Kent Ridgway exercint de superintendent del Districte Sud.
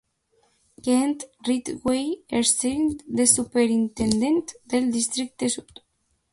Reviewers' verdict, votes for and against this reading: rejected, 0, 2